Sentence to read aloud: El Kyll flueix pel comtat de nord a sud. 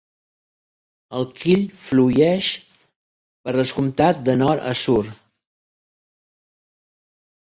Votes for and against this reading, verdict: 0, 2, rejected